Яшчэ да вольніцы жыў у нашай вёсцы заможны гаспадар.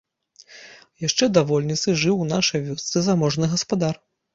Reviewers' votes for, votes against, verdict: 3, 0, accepted